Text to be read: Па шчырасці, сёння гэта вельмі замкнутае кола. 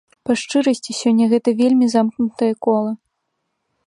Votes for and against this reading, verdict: 2, 0, accepted